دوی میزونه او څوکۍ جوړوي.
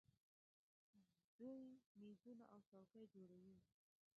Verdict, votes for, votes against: rejected, 1, 2